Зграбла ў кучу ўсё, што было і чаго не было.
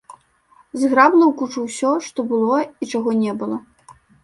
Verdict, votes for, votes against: rejected, 0, 2